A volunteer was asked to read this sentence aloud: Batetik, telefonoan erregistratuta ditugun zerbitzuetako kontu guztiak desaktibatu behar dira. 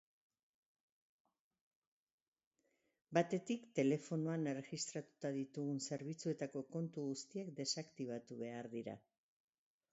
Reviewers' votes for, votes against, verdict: 1, 2, rejected